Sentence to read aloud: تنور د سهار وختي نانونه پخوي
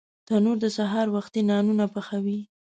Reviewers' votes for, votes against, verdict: 1, 2, rejected